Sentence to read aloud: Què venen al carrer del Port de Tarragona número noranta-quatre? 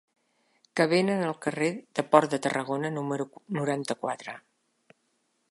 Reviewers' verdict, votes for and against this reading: rejected, 0, 2